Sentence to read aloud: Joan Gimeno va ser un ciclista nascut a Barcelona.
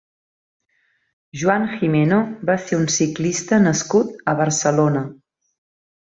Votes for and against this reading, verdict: 2, 0, accepted